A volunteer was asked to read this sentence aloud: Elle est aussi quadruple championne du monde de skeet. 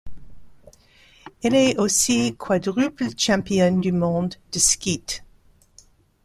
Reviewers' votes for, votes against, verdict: 2, 0, accepted